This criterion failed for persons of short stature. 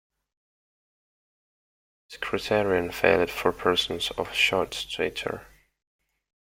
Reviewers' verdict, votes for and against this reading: rejected, 0, 2